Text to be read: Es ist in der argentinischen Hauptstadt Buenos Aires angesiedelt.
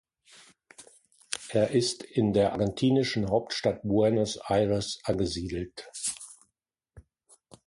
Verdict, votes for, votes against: accepted, 2, 1